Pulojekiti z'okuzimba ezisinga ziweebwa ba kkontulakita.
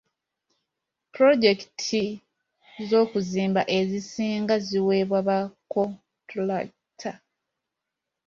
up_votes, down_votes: 1, 2